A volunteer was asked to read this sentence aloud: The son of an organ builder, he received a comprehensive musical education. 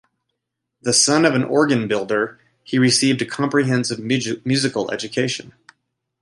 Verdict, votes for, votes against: rejected, 1, 2